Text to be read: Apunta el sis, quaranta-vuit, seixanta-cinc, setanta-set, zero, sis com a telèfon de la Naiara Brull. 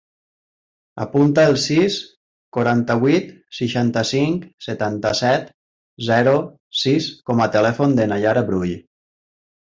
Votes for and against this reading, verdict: 0, 2, rejected